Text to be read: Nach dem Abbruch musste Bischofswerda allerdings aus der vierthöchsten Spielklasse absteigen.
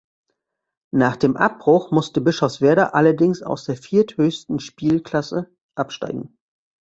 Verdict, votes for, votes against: accepted, 2, 0